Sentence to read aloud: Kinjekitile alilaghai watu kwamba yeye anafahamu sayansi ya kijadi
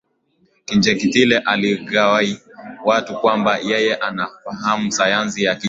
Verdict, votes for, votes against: accepted, 4, 2